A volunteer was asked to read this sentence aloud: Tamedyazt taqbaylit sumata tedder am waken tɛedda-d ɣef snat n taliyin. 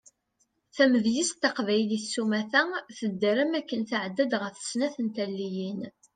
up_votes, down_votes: 2, 0